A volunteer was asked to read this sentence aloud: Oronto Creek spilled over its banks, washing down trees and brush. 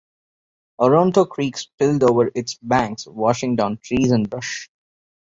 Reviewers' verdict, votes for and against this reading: rejected, 0, 2